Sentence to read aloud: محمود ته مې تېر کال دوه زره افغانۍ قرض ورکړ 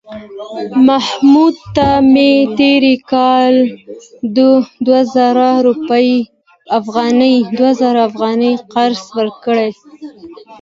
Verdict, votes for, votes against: rejected, 0, 2